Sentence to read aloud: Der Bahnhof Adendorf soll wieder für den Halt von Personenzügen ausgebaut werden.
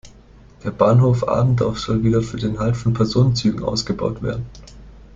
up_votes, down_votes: 2, 1